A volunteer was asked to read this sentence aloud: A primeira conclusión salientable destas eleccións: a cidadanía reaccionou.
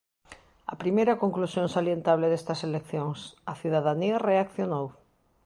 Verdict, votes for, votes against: accepted, 2, 0